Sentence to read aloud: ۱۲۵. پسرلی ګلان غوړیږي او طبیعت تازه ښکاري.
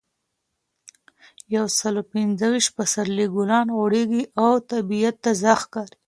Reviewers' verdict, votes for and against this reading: rejected, 0, 2